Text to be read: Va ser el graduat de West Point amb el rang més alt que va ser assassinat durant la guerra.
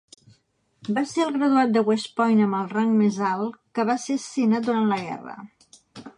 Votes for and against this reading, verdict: 1, 2, rejected